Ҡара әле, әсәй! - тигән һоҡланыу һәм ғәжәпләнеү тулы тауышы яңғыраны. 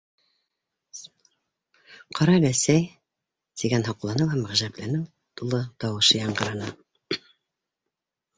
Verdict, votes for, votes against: accepted, 3, 1